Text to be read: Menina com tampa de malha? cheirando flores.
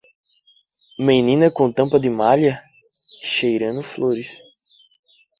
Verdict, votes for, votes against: accepted, 2, 0